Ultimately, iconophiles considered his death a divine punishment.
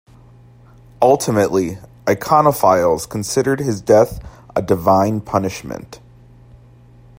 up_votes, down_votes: 2, 0